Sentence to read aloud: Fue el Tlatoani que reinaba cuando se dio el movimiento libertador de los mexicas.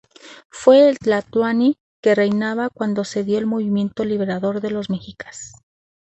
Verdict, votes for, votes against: rejected, 0, 2